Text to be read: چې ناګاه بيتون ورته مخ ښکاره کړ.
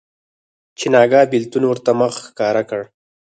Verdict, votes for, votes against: rejected, 2, 4